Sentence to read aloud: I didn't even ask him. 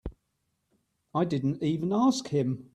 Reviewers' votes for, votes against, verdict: 3, 0, accepted